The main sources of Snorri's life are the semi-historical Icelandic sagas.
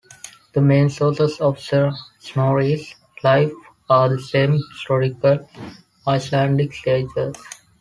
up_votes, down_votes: 3, 0